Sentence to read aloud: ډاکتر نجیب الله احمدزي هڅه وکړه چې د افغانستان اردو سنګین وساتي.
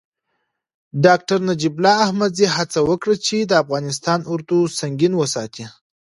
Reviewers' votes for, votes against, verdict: 2, 0, accepted